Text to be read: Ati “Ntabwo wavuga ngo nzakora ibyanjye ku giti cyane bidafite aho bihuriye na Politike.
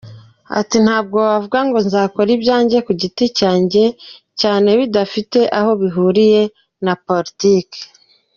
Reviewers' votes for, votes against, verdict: 2, 0, accepted